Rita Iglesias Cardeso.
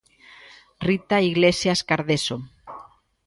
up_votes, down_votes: 2, 0